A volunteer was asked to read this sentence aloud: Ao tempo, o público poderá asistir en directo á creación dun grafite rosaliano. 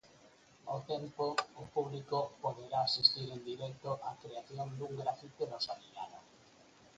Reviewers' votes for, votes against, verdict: 0, 4, rejected